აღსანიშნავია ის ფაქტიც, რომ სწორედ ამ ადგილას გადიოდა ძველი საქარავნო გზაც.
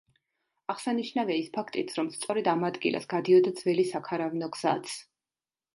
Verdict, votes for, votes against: accepted, 2, 0